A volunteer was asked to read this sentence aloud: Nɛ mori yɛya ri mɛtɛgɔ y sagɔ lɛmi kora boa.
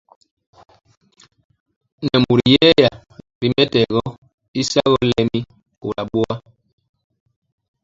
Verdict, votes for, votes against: rejected, 0, 2